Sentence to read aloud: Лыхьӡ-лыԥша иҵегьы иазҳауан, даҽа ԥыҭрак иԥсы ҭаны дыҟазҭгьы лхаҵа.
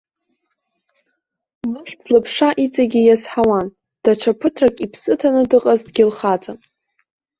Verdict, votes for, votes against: rejected, 0, 2